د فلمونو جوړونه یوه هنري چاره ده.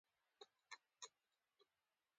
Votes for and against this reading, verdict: 2, 1, accepted